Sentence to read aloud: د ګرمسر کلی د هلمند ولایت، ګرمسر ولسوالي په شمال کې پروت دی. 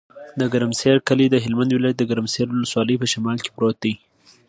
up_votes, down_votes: 2, 0